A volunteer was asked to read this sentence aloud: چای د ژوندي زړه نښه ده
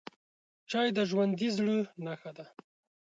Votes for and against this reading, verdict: 2, 0, accepted